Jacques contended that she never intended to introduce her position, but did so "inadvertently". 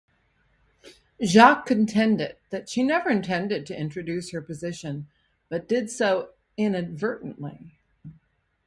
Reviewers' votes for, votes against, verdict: 0, 2, rejected